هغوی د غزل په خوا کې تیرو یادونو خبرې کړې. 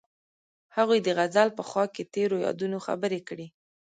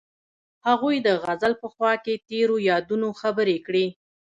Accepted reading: second